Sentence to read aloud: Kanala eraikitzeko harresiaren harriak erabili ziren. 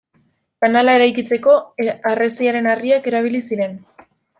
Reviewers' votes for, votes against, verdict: 0, 2, rejected